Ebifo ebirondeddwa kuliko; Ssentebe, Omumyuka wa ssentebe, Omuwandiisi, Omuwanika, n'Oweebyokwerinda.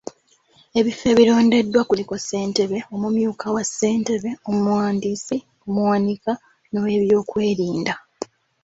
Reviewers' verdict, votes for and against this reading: accepted, 2, 1